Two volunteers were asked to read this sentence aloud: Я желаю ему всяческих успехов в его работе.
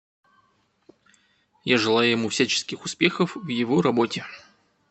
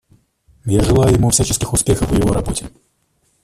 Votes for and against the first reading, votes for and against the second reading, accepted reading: 2, 1, 0, 2, first